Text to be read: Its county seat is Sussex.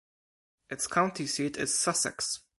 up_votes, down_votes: 0, 4